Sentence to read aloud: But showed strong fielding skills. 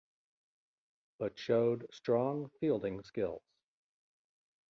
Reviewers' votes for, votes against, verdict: 1, 2, rejected